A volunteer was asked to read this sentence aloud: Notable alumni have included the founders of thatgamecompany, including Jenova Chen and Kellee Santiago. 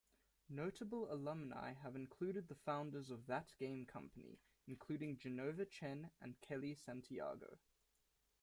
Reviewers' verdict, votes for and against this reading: rejected, 1, 2